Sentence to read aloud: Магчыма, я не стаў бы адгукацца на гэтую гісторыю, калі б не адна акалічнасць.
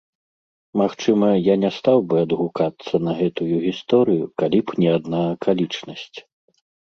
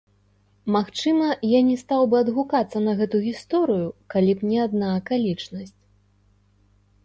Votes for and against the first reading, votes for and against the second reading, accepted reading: 2, 0, 0, 2, first